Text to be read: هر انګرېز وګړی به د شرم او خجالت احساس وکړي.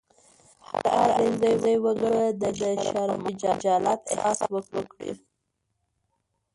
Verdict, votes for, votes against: rejected, 0, 2